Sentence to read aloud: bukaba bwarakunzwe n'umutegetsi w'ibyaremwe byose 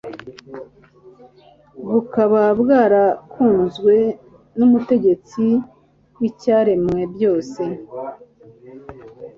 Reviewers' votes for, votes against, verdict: 2, 1, accepted